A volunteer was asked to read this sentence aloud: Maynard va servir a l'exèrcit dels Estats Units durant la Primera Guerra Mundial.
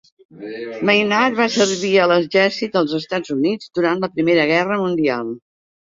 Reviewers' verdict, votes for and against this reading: accepted, 2, 0